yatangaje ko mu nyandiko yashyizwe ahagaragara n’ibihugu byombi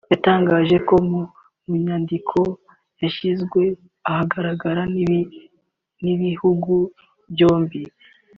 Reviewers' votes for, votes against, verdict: 1, 2, rejected